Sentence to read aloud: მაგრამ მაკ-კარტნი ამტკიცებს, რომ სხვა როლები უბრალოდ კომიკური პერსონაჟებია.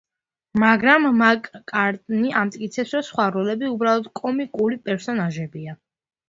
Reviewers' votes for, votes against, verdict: 2, 0, accepted